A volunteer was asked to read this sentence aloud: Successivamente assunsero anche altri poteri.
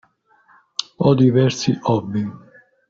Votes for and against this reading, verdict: 0, 2, rejected